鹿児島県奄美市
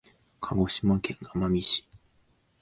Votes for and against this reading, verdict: 1, 2, rejected